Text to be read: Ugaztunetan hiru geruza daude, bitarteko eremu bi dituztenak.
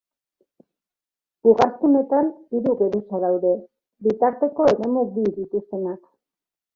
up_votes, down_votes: 2, 1